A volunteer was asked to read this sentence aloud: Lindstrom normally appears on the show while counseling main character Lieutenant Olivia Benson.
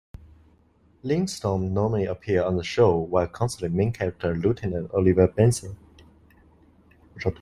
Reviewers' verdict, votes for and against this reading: rejected, 1, 2